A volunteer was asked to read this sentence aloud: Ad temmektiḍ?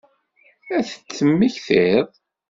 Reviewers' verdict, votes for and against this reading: rejected, 1, 2